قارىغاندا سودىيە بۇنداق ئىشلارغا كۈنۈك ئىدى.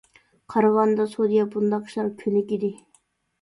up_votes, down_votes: 0, 2